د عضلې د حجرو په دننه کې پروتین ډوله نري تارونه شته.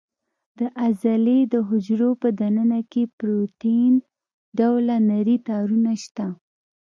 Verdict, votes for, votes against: accepted, 2, 0